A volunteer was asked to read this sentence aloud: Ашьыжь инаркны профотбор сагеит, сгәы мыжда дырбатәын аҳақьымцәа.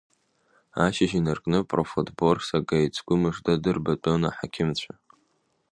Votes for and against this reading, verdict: 2, 0, accepted